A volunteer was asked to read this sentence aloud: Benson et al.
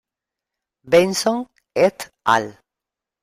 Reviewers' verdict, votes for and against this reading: rejected, 0, 2